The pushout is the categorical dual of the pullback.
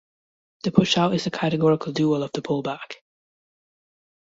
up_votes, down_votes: 2, 0